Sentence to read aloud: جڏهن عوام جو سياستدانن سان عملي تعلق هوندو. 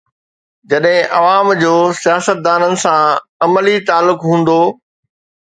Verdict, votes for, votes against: accepted, 2, 0